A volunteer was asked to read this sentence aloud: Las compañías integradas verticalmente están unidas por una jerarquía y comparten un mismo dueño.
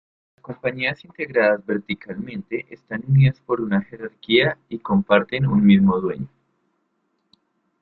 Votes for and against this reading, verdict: 1, 2, rejected